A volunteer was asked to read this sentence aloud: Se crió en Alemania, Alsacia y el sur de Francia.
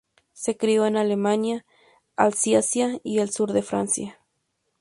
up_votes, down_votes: 2, 0